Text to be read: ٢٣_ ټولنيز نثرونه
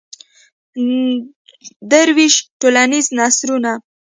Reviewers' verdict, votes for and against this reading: rejected, 0, 2